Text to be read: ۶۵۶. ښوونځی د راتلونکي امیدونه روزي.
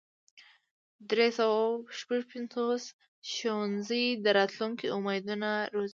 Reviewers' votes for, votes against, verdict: 0, 2, rejected